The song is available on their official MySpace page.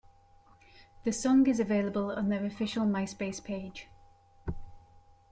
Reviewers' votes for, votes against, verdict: 2, 0, accepted